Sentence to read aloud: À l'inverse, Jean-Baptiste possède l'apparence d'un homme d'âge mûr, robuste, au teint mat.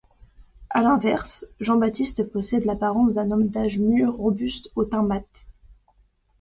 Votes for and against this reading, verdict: 2, 0, accepted